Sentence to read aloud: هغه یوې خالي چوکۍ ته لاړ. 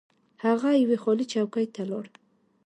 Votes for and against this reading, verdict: 2, 0, accepted